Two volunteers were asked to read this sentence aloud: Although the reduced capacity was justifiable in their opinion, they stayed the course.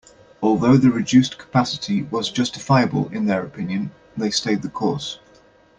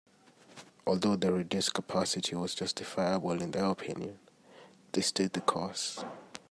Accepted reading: first